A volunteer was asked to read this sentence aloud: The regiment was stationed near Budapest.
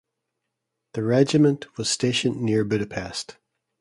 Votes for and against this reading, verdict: 2, 0, accepted